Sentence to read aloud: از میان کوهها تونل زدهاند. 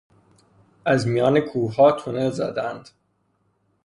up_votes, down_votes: 3, 0